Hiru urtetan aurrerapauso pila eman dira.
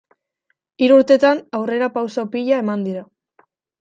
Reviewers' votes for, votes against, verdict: 2, 1, accepted